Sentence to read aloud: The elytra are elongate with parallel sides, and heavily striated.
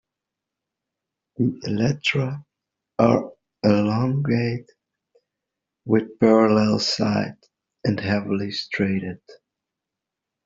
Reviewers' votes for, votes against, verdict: 0, 2, rejected